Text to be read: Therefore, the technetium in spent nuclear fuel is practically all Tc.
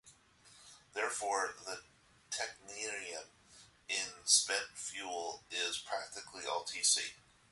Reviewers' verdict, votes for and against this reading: rejected, 0, 2